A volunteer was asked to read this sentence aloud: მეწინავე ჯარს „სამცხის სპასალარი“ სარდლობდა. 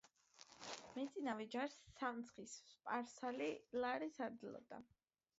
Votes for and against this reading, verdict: 2, 2, rejected